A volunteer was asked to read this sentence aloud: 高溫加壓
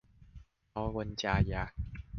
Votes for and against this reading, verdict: 2, 0, accepted